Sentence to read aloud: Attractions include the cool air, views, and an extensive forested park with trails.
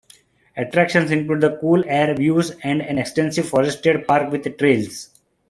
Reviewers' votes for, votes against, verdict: 1, 2, rejected